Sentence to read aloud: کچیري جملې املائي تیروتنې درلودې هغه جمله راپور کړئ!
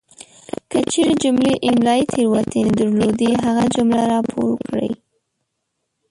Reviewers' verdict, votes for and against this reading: rejected, 1, 2